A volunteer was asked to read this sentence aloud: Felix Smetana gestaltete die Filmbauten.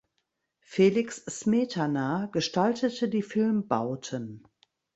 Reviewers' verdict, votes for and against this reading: accepted, 2, 0